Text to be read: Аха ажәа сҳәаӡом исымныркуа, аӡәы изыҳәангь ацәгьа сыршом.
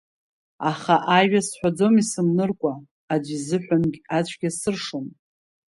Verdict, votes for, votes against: accepted, 2, 1